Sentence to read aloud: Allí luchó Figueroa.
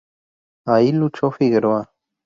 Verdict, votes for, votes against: rejected, 0, 4